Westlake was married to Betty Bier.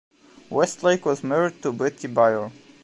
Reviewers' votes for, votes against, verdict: 2, 0, accepted